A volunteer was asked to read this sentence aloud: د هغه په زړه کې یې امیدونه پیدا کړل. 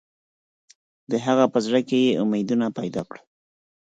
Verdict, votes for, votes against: accepted, 4, 0